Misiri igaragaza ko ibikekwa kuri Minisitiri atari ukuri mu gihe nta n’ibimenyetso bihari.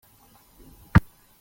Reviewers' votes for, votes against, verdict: 0, 2, rejected